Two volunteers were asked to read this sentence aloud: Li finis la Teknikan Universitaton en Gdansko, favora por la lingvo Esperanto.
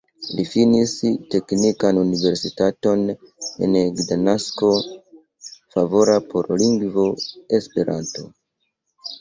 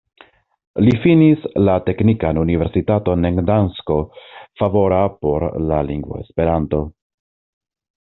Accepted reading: second